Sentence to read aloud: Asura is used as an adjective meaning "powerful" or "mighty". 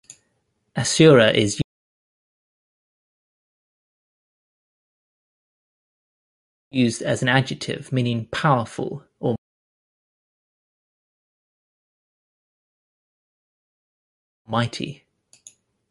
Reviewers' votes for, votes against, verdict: 0, 2, rejected